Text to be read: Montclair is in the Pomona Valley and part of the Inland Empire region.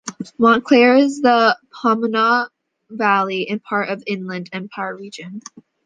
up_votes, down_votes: 0, 2